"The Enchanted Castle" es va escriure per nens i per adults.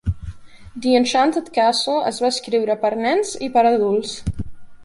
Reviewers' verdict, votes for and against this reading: accepted, 2, 0